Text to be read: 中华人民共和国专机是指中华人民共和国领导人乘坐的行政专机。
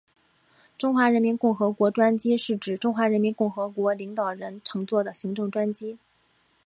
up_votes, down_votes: 2, 1